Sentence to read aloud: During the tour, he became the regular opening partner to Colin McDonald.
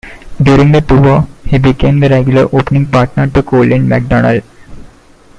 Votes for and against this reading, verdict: 1, 2, rejected